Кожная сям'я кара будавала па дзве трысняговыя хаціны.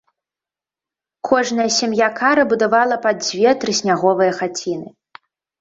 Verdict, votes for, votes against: accepted, 2, 0